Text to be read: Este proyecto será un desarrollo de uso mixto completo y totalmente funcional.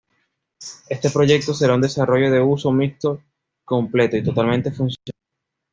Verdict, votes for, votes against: accepted, 2, 0